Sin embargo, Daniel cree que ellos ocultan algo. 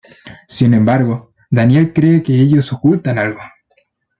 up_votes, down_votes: 2, 0